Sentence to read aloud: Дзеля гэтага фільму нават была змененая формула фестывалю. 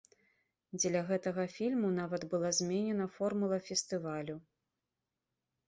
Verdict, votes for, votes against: rejected, 1, 2